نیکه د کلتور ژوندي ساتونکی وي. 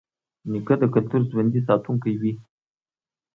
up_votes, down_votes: 2, 0